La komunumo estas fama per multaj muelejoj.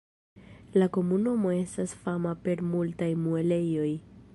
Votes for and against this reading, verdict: 2, 0, accepted